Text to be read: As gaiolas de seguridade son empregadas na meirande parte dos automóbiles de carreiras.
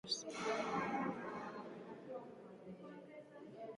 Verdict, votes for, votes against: rejected, 0, 6